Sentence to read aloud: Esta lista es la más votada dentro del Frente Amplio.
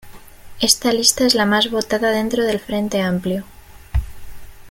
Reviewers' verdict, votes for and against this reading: rejected, 0, 3